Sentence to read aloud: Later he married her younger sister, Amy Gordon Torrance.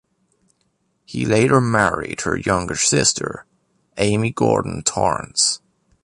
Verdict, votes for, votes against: rejected, 1, 2